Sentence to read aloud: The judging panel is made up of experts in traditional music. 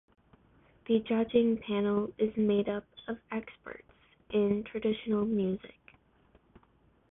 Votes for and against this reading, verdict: 2, 1, accepted